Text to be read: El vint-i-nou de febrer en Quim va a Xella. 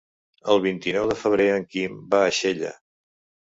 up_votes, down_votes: 3, 0